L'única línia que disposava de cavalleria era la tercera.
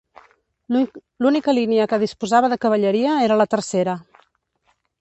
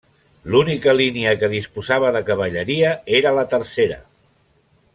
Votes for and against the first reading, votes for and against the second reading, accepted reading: 1, 2, 3, 0, second